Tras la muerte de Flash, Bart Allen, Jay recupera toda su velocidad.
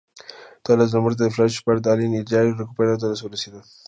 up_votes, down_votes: 2, 0